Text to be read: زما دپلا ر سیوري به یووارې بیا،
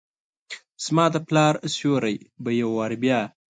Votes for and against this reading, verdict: 3, 0, accepted